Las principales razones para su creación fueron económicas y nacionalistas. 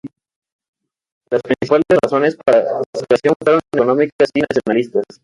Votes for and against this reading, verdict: 0, 2, rejected